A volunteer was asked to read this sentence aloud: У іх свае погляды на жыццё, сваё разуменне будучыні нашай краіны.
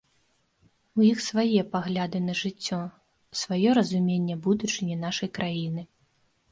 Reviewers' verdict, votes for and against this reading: rejected, 0, 2